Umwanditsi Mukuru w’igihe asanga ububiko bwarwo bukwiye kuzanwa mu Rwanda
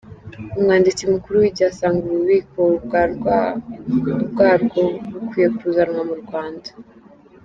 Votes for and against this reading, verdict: 2, 3, rejected